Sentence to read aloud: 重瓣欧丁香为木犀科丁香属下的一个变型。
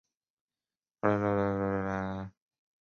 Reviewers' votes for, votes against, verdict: 0, 3, rejected